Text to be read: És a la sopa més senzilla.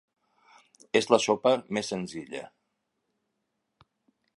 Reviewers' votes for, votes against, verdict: 1, 3, rejected